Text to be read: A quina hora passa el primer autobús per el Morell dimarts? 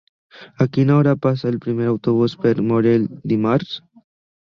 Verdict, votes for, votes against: rejected, 1, 2